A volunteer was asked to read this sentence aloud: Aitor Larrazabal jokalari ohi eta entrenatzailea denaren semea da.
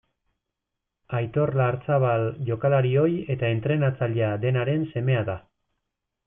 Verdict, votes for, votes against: rejected, 1, 2